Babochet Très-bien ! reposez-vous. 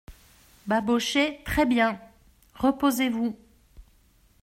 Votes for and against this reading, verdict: 3, 0, accepted